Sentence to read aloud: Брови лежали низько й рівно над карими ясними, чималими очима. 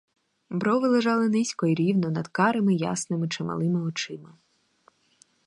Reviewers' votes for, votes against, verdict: 2, 0, accepted